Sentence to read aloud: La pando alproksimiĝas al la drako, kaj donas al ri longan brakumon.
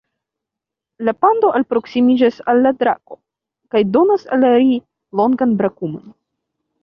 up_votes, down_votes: 1, 3